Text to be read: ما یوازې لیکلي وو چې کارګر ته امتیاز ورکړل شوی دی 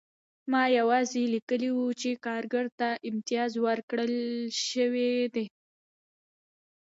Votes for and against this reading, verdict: 2, 0, accepted